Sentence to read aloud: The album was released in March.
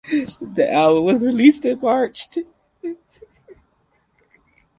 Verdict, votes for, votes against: accepted, 4, 2